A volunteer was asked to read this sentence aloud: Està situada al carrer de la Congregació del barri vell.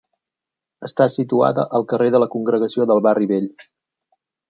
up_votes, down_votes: 3, 0